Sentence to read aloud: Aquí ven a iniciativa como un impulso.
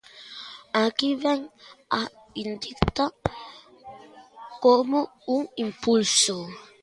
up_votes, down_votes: 1, 2